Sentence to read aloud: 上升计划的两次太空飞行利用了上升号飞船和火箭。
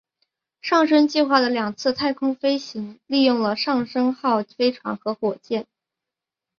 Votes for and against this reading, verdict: 2, 0, accepted